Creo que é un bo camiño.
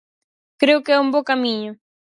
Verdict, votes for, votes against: accepted, 4, 0